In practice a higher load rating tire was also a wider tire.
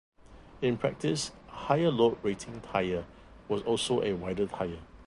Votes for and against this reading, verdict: 1, 2, rejected